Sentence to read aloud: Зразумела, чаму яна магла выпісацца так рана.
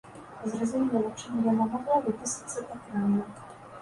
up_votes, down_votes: 0, 2